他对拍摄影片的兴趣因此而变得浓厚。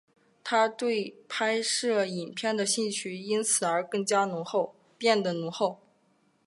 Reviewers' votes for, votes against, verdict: 5, 0, accepted